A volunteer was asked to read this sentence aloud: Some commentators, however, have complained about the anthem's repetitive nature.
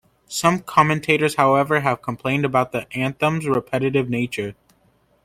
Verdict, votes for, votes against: accepted, 2, 1